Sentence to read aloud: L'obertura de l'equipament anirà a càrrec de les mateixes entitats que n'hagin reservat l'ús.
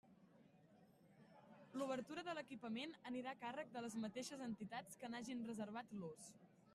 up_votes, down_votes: 3, 0